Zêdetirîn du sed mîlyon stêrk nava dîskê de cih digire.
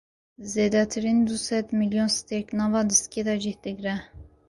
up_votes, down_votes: 2, 0